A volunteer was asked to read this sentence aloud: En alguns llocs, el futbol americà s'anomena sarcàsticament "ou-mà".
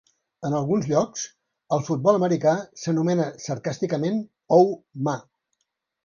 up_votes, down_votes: 2, 0